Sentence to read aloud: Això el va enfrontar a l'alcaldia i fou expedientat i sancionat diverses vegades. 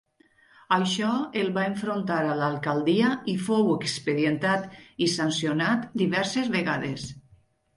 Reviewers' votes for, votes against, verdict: 2, 0, accepted